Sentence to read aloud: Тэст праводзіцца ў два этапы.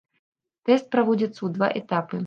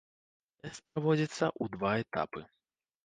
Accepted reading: first